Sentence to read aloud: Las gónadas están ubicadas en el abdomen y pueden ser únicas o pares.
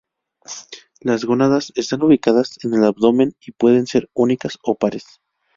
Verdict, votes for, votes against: accepted, 2, 0